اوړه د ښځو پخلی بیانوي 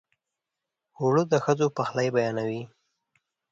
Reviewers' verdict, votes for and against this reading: accepted, 2, 0